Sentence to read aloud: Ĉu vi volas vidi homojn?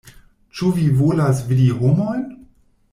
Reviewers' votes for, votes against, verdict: 2, 0, accepted